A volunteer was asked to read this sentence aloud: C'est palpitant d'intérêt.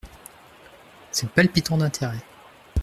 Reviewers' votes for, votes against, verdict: 2, 0, accepted